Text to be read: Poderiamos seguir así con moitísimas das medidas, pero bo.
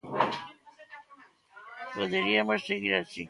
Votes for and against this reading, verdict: 0, 2, rejected